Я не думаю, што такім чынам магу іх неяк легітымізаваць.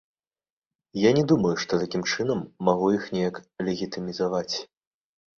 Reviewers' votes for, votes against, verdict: 1, 2, rejected